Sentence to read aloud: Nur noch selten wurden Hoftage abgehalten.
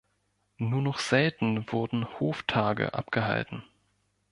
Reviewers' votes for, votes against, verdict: 2, 0, accepted